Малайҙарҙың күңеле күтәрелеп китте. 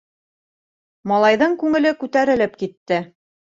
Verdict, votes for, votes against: rejected, 0, 2